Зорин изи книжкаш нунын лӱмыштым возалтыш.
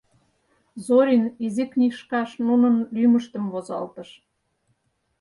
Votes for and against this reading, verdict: 4, 0, accepted